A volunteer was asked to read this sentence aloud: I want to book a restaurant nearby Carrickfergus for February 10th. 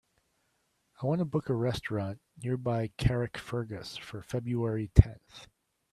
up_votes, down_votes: 0, 2